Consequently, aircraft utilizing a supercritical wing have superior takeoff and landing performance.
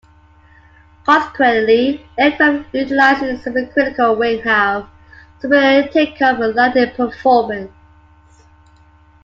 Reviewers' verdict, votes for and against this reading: accepted, 2, 1